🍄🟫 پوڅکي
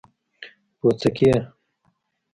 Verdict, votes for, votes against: rejected, 1, 2